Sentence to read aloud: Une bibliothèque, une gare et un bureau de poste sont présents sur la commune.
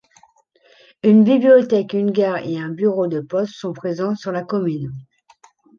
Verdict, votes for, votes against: accepted, 2, 0